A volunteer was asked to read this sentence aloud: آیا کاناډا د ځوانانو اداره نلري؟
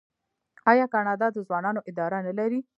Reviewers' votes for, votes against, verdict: 0, 2, rejected